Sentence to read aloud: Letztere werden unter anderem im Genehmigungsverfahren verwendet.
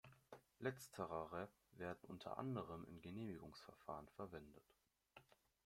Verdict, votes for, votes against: rejected, 1, 2